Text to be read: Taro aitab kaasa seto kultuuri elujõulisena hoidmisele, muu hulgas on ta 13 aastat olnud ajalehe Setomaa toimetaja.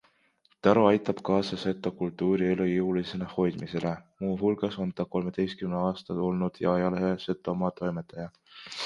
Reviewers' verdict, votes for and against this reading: rejected, 0, 2